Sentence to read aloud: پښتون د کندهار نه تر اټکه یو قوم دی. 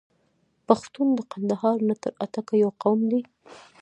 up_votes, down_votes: 1, 2